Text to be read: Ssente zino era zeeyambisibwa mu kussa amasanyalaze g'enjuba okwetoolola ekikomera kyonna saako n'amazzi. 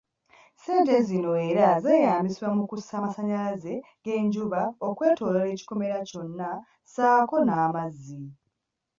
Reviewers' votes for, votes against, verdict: 2, 1, accepted